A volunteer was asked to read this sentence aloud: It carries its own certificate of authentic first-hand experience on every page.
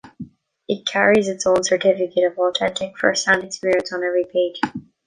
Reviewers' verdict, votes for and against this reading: accepted, 2, 1